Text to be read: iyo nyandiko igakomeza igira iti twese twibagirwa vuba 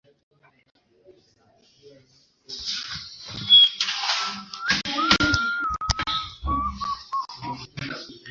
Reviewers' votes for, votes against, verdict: 1, 2, rejected